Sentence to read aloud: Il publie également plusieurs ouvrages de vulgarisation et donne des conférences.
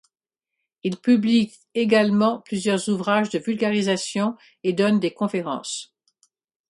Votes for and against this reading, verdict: 4, 0, accepted